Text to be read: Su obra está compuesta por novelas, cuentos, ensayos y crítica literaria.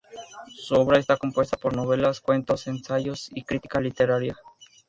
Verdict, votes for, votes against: accepted, 4, 0